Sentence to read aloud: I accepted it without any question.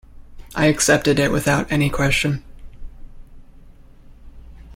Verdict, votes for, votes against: accepted, 2, 0